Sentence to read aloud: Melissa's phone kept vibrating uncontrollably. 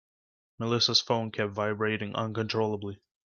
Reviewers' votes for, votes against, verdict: 2, 0, accepted